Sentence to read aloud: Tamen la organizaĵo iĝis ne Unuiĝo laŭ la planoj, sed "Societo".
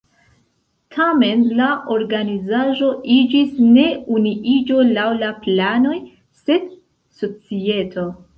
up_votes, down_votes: 2, 0